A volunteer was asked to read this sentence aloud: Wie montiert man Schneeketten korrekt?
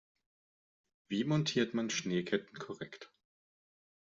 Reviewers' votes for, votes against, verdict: 2, 0, accepted